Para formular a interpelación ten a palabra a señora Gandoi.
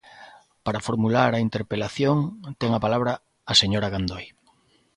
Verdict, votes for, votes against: accepted, 2, 0